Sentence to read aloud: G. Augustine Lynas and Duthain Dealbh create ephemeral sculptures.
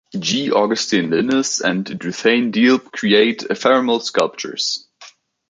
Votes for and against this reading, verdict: 2, 0, accepted